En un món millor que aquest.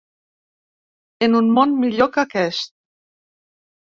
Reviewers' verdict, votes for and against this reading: accepted, 3, 0